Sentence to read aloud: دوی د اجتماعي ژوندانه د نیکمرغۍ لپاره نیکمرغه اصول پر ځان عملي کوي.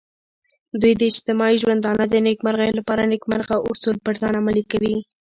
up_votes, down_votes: 1, 2